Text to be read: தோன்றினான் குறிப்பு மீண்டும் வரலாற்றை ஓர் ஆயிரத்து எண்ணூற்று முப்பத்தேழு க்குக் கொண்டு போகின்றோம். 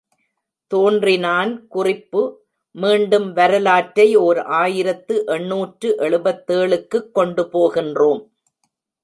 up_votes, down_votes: 0, 2